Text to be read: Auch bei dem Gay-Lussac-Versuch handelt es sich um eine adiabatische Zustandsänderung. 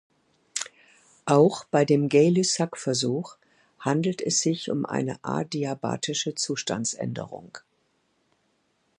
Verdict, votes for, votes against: accepted, 2, 0